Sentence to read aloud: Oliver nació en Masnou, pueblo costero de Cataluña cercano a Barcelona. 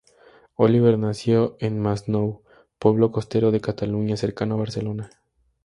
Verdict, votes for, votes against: accepted, 2, 0